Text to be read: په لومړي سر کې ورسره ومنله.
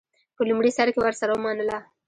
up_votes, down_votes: 0, 2